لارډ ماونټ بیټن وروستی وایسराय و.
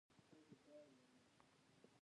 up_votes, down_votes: 0, 2